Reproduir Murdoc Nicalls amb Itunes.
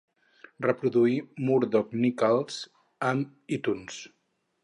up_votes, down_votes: 2, 4